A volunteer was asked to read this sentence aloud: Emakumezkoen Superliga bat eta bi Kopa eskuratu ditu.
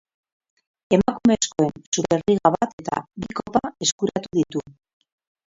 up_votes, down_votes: 0, 4